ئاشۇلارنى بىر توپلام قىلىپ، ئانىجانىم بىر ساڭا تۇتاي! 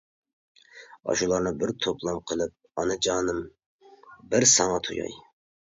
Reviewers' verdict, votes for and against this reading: rejected, 0, 2